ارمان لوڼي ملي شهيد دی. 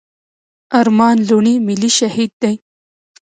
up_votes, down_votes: 2, 0